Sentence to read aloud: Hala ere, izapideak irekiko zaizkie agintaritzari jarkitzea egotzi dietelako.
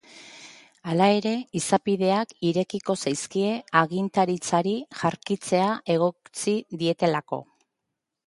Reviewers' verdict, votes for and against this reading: accepted, 4, 0